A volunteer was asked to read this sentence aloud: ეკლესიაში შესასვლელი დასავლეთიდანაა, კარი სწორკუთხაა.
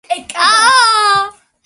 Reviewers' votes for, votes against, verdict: 0, 2, rejected